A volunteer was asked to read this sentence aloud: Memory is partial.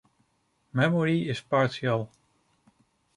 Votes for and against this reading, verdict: 2, 0, accepted